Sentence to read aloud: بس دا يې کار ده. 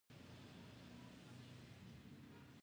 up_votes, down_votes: 1, 2